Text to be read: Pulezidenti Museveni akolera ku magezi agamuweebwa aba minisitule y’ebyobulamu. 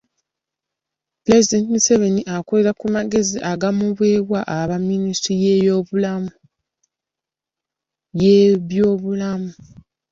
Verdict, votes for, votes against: rejected, 1, 2